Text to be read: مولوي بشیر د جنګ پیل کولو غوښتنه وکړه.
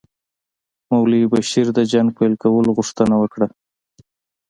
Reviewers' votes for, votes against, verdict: 2, 0, accepted